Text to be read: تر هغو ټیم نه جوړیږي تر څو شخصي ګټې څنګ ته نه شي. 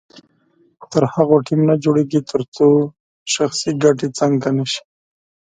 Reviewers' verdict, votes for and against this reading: accepted, 4, 0